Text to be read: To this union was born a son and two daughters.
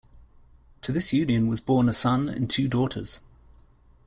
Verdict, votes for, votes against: accepted, 2, 0